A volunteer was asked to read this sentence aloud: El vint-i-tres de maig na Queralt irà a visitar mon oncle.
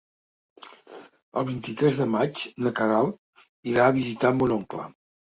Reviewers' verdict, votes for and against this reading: accepted, 3, 0